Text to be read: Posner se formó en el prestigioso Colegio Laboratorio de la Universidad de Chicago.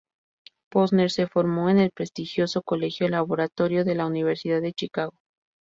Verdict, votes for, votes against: accepted, 2, 0